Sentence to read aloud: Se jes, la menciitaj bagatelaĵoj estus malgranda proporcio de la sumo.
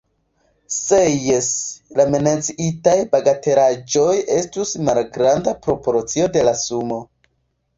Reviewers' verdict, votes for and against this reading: accepted, 2, 1